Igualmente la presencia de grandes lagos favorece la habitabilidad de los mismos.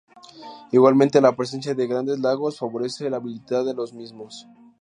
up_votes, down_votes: 0, 2